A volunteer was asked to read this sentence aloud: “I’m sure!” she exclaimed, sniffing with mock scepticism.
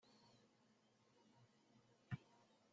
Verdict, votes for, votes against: rejected, 0, 2